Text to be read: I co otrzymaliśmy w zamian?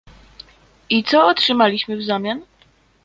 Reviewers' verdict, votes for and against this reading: accepted, 2, 0